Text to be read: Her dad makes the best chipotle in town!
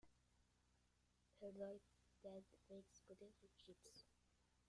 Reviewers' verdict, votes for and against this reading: rejected, 0, 2